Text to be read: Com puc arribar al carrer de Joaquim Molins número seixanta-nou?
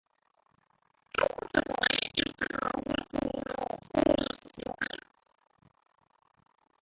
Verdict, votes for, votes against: rejected, 1, 2